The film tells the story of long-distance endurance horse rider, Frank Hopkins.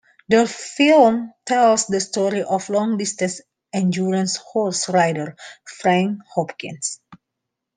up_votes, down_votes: 2, 0